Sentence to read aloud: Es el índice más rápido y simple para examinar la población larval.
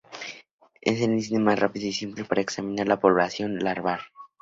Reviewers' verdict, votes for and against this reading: rejected, 0, 2